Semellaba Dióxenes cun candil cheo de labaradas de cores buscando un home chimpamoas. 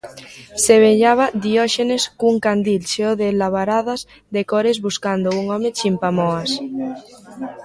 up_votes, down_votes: 1, 2